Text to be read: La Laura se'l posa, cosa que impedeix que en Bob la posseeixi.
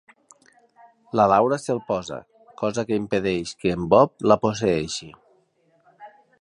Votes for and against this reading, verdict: 3, 0, accepted